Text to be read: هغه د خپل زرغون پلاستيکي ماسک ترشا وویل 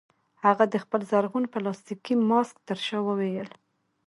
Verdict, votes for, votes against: rejected, 0, 2